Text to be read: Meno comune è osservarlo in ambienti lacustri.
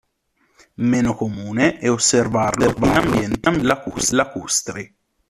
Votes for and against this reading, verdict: 0, 2, rejected